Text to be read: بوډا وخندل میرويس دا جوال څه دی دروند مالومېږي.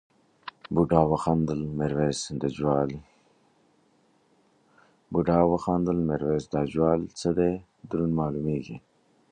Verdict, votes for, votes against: rejected, 0, 2